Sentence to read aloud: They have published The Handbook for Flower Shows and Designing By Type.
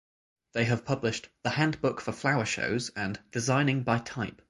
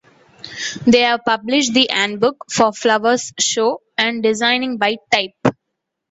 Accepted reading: first